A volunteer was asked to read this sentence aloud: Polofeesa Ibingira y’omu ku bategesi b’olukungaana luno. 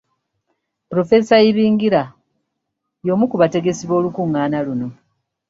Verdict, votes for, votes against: accepted, 2, 0